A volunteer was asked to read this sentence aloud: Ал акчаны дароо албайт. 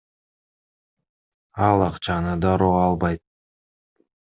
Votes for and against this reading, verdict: 2, 0, accepted